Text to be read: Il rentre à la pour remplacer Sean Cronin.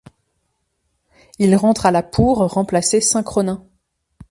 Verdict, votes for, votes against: rejected, 1, 2